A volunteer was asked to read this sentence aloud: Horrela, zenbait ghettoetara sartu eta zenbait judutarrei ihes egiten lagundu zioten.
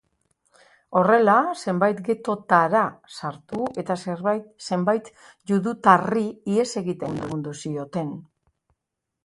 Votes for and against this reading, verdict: 0, 3, rejected